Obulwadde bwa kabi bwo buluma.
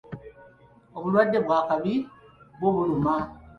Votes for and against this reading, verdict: 1, 2, rejected